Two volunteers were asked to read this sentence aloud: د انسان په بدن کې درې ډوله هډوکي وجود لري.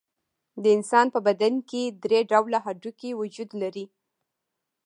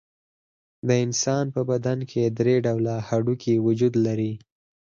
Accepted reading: first